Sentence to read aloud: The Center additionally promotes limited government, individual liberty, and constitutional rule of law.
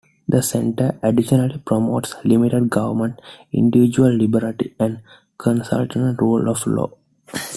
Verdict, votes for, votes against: rejected, 1, 2